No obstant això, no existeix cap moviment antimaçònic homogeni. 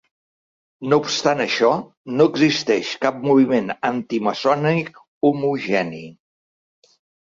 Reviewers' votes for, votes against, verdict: 2, 3, rejected